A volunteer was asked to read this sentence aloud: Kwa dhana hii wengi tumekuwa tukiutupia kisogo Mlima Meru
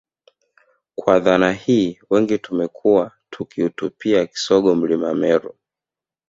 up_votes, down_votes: 2, 1